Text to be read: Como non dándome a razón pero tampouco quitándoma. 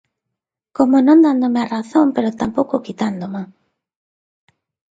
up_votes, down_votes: 2, 0